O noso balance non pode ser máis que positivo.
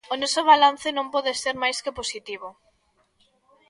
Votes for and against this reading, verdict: 2, 0, accepted